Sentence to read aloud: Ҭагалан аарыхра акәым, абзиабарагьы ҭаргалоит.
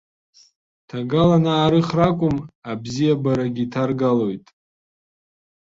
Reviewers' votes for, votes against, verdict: 2, 1, accepted